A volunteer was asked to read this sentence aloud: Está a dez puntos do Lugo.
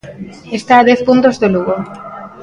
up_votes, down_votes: 2, 0